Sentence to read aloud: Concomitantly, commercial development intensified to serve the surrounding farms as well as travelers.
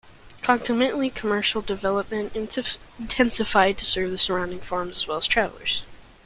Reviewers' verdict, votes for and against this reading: rejected, 0, 2